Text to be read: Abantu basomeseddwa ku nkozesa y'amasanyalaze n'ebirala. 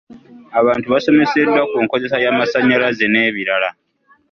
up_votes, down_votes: 2, 1